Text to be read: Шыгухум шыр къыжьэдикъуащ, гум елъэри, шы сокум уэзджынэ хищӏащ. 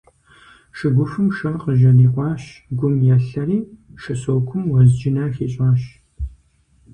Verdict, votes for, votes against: accepted, 4, 0